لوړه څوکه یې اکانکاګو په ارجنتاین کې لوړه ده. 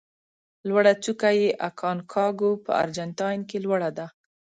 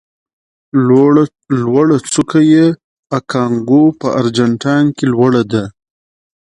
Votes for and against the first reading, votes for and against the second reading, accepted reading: 5, 0, 0, 2, first